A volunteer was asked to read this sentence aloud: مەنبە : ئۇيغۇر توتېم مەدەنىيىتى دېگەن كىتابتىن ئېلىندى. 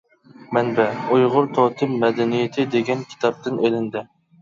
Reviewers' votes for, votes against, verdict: 2, 0, accepted